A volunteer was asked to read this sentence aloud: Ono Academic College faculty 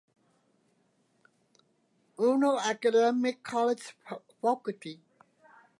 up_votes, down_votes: 0, 2